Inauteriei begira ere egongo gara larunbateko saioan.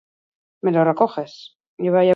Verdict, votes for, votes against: rejected, 0, 4